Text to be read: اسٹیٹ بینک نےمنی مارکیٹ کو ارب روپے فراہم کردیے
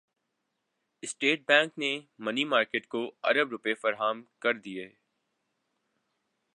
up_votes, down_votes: 3, 0